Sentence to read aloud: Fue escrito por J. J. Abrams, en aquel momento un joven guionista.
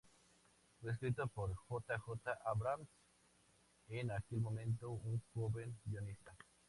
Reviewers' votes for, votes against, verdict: 2, 0, accepted